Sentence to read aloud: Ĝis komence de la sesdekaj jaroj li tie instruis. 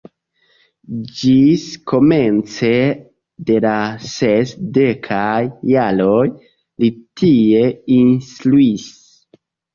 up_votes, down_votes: 0, 2